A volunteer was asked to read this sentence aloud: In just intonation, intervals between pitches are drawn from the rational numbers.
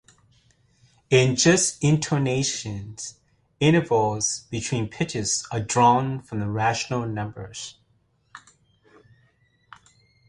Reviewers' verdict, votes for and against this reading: rejected, 1, 2